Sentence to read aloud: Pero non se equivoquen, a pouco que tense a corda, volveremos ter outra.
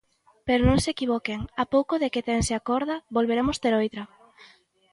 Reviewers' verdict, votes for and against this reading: rejected, 0, 2